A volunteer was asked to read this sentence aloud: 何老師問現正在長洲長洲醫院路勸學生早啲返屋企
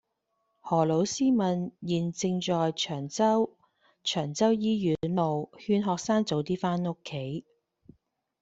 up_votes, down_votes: 2, 0